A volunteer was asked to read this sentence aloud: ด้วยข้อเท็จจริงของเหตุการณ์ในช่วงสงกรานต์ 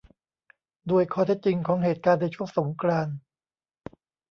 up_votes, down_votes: 2, 0